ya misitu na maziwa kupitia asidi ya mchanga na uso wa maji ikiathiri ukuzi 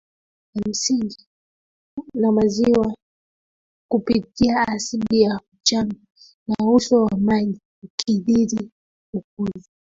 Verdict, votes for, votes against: rejected, 0, 2